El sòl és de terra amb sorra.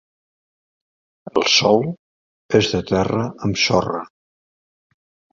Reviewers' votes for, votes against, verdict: 4, 0, accepted